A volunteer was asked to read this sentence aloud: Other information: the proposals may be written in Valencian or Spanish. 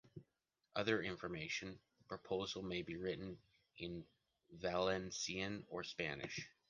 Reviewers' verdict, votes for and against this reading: rejected, 0, 2